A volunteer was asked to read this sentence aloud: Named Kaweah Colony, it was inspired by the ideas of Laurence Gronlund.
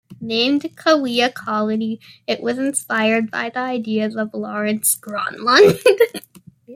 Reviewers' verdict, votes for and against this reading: rejected, 0, 2